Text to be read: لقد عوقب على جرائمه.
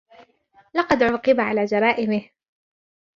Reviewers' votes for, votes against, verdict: 1, 2, rejected